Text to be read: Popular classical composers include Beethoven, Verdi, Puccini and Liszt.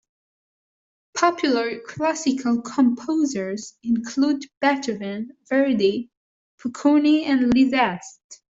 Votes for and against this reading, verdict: 0, 2, rejected